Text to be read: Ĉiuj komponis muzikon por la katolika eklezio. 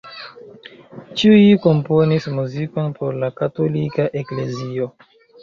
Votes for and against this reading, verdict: 2, 0, accepted